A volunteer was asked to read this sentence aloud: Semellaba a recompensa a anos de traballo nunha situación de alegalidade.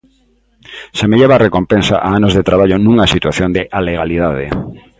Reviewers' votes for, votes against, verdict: 3, 0, accepted